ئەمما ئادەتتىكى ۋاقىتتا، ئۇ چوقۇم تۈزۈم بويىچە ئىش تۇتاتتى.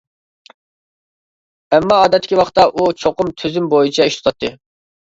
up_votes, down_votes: 2, 0